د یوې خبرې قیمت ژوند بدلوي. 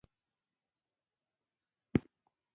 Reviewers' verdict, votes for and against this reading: rejected, 0, 2